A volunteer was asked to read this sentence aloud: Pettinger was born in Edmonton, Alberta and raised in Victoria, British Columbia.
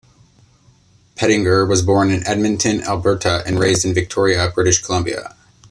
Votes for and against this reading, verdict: 2, 0, accepted